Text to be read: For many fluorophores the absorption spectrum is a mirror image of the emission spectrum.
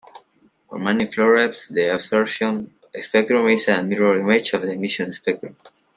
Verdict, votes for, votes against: rejected, 1, 2